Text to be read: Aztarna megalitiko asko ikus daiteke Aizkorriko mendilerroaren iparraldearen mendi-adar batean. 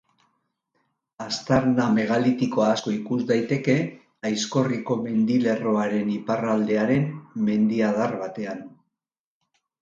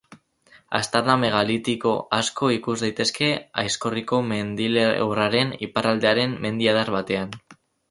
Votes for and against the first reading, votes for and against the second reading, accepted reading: 4, 0, 0, 4, first